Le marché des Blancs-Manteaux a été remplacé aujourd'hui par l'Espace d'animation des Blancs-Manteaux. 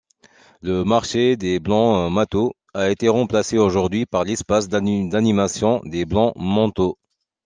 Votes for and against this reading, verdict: 1, 2, rejected